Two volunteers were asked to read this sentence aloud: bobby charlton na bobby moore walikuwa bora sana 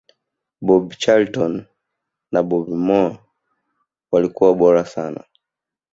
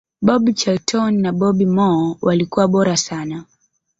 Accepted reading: second